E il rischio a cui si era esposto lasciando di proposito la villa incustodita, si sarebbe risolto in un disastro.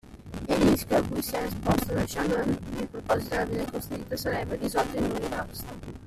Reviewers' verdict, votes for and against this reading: rejected, 0, 2